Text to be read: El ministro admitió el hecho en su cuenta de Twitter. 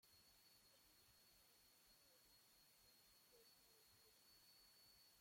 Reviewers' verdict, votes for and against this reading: rejected, 0, 2